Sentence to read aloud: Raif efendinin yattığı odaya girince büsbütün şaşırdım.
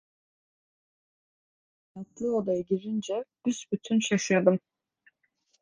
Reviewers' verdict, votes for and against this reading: rejected, 0, 2